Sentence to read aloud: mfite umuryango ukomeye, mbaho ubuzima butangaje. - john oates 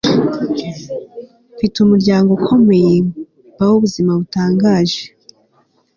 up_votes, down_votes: 2, 3